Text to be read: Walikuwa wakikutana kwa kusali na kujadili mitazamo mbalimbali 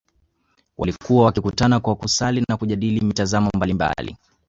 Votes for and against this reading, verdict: 2, 1, accepted